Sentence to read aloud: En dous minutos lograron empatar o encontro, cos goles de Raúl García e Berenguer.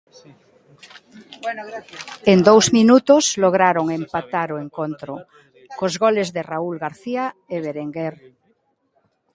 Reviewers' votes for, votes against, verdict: 0, 2, rejected